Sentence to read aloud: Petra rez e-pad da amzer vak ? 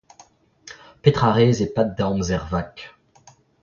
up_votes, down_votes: 0, 2